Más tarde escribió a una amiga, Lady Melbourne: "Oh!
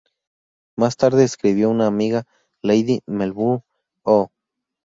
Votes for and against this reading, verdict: 0, 2, rejected